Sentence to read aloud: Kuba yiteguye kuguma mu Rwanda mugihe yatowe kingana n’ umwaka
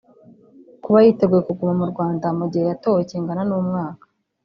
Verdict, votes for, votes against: rejected, 1, 2